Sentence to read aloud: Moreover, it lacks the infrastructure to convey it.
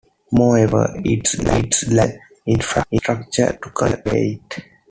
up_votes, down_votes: 1, 2